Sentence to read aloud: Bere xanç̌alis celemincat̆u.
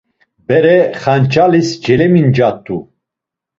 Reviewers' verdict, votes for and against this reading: accepted, 2, 0